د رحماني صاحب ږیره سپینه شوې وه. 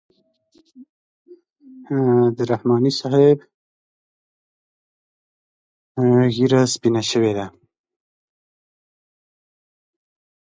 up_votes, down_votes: 0, 2